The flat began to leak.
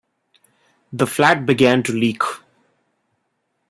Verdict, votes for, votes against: accepted, 2, 1